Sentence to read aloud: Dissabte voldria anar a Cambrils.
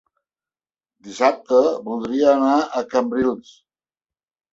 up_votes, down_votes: 3, 0